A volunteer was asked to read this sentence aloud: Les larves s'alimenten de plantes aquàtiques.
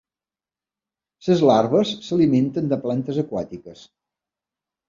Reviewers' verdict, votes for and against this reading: rejected, 1, 2